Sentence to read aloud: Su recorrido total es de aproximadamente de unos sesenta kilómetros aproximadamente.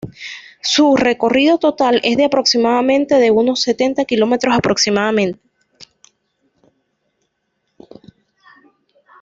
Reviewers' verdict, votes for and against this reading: rejected, 1, 2